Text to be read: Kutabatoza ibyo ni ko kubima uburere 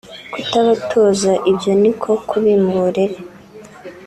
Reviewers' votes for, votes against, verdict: 3, 0, accepted